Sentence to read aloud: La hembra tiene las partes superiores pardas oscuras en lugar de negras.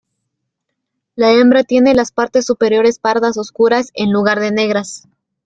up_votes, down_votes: 2, 0